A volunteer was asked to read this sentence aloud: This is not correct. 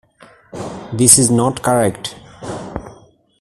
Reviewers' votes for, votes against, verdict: 2, 0, accepted